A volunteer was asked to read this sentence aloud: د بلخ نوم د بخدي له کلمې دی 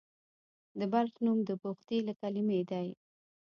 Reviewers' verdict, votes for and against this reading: accepted, 2, 1